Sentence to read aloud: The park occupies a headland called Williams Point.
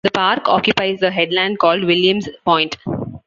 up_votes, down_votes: 2, 0